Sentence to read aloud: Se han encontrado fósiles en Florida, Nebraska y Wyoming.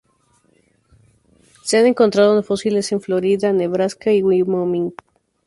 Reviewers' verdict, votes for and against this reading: rejected, 0, 4